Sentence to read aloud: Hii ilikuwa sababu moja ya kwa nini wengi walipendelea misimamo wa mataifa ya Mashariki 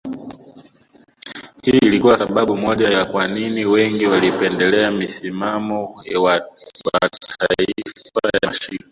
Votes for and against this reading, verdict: 0, 2, rejected